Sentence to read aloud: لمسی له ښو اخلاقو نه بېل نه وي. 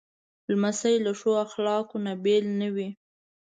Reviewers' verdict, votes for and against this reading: accepted, 2, 0